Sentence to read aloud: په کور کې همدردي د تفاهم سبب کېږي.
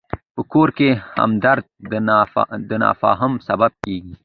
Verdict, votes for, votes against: rejected, 1, 2